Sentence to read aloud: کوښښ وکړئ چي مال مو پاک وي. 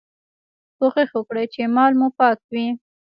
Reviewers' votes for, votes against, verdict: 2, 1, accepted